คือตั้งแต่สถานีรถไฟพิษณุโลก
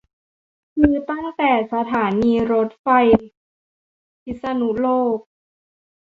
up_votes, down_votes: 1, 3